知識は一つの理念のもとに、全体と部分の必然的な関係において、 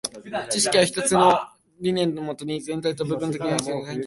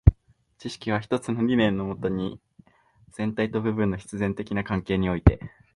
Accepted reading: second